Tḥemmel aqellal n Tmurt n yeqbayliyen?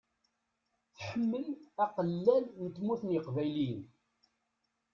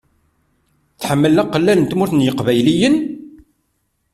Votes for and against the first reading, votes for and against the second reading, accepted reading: 1, 2, 2, 0, second